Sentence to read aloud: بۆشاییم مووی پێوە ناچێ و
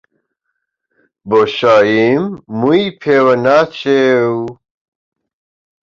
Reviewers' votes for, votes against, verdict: 2, 0, accepted